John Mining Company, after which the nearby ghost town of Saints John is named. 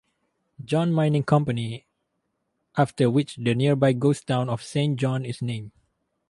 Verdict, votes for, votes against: rejected, 2, 2